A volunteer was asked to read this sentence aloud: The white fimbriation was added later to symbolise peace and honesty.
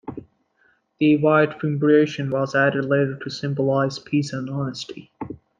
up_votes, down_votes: 2, 0